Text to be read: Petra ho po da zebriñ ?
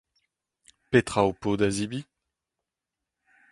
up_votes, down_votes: 2, 4